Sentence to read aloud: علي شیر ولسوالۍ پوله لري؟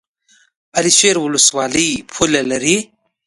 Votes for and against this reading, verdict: 2, 0, accepted